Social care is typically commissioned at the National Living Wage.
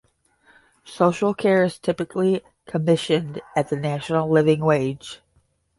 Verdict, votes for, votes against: accepted, 5, 0